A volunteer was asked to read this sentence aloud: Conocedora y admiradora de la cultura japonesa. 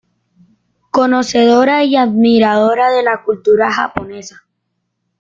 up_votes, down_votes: 2, 1